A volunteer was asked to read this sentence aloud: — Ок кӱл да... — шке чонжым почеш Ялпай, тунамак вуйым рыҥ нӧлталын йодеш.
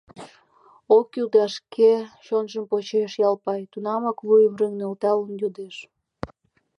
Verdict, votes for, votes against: accepted, 2, 1